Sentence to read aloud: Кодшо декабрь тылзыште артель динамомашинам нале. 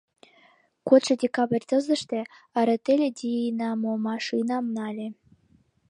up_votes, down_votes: 1, 2